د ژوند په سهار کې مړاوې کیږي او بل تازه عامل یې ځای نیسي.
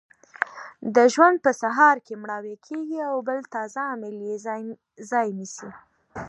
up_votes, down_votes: 2, 1